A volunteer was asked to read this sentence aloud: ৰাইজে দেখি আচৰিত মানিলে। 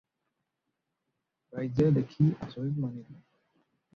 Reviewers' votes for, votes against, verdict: 0, 4, rejected